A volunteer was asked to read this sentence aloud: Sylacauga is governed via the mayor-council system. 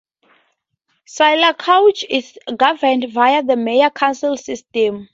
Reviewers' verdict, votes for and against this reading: accepted, 2, 0